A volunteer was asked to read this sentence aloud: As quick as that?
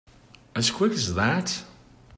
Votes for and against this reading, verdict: 3, 1, accepted